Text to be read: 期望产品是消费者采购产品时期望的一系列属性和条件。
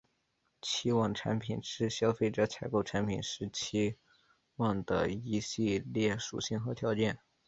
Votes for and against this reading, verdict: 2, 0, accepted